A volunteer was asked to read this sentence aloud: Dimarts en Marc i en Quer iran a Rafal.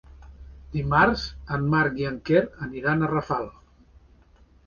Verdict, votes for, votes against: rejected, 1, 2